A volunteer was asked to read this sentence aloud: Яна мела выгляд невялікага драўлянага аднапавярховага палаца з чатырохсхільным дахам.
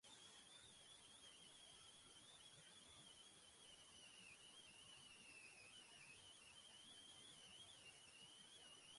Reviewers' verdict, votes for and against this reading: rejected, 0, 3